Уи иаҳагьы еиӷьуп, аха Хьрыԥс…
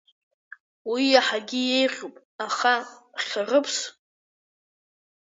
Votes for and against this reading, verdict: 2, 1, accepted